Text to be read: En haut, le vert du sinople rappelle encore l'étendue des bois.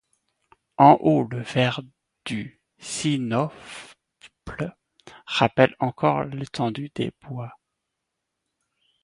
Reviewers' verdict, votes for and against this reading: accepted, 2, 0